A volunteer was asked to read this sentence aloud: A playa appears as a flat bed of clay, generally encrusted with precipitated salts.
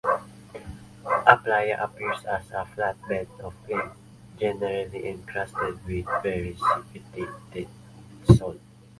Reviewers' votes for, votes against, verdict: 0, 2, rejected